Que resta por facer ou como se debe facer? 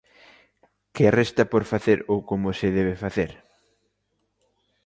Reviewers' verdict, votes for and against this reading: accepted, 2, 0